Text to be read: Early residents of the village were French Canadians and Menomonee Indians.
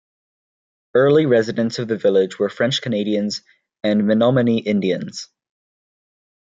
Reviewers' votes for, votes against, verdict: 2, 0, accepted